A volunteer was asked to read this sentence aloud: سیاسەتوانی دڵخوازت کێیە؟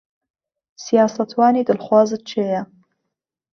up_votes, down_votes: 2, 0